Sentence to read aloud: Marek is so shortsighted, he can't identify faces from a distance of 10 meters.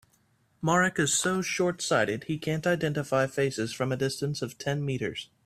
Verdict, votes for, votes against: rejected, 0, 2